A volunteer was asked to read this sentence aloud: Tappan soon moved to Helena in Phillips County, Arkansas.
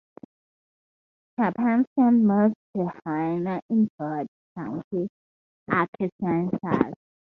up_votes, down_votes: 2, 2